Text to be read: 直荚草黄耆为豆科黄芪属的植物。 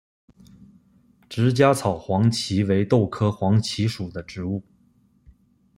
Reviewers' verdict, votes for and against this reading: accepted, 2, 1